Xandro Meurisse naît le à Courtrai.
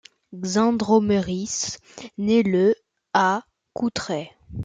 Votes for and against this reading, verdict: 1, 2, rejected